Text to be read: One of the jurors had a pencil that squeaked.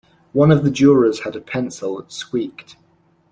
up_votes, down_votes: 2, 0